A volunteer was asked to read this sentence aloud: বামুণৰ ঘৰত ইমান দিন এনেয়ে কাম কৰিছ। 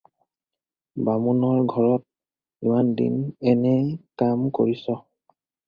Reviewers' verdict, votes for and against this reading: accepted, 4, 0